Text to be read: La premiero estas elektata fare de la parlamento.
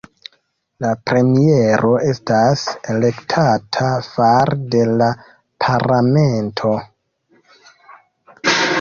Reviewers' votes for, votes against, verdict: 1, 2, rejected